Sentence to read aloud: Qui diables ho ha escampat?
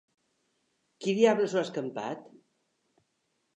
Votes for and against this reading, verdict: 3, 0, accepted